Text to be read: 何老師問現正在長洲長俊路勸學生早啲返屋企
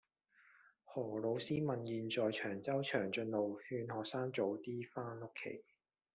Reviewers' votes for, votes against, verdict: 1, 2, rejected